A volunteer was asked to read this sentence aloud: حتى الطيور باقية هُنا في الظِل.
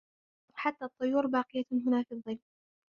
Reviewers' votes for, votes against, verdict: 0, 2, rejected